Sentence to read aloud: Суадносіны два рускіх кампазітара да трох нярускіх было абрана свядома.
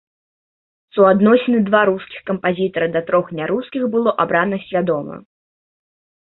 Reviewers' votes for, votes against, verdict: 2, 0, accepted